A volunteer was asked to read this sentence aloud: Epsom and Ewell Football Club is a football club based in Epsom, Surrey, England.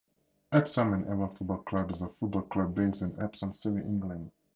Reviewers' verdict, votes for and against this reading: accepted, 4, 2